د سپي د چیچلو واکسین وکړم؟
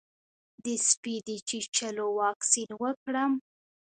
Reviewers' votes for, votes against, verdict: 0, 2, rejected